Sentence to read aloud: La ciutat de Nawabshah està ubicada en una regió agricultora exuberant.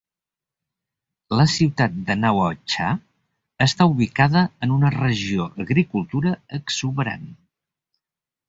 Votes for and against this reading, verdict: 1, 3, rejected